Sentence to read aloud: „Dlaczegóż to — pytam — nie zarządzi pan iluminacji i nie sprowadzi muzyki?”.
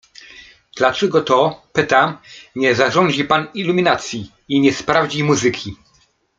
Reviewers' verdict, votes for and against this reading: rejected, 0, 2